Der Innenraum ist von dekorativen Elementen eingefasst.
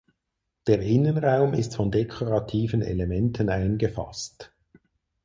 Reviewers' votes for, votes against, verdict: 4, 0, accepted